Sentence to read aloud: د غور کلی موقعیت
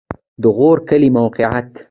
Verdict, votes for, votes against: accepted, 2, 0